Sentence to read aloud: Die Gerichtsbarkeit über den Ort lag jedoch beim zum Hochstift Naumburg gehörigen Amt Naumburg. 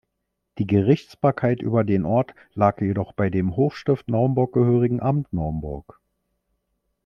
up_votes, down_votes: 1, 2